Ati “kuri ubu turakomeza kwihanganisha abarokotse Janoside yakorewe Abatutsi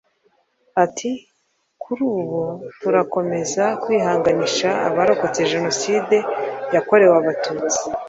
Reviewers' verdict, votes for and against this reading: accepted, 2, 0